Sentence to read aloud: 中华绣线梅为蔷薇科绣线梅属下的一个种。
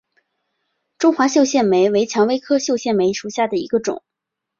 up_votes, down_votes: 2, 0